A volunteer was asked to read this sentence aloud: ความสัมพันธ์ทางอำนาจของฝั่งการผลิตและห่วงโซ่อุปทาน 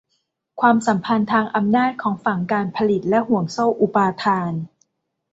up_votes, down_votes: 1, 2